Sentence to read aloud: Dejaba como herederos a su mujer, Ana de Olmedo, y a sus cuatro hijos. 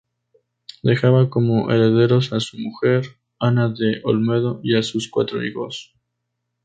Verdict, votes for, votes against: rejected, 0, 2